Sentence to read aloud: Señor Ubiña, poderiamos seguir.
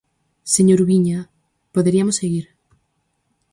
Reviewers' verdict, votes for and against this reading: rejected, 2, 2